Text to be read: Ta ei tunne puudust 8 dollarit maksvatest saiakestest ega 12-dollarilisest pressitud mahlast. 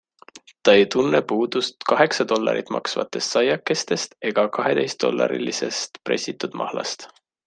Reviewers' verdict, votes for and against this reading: rejected, 0, 2